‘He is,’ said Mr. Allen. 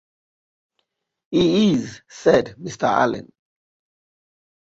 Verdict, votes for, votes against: accepted, 2, 1